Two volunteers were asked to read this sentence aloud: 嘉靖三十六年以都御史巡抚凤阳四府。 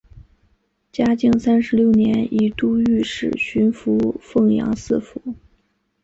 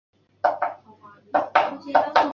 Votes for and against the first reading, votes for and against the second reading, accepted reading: 2, 1, 1, 2, first